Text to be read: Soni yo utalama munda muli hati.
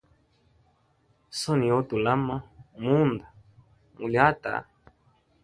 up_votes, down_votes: 2, 0